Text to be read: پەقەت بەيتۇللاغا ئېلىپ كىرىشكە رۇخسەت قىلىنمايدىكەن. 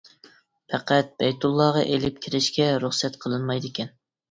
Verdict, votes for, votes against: accepted, 2, 0